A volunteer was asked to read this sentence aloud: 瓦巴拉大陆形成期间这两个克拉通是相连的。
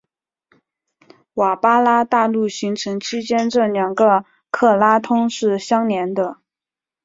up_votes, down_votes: 2, 0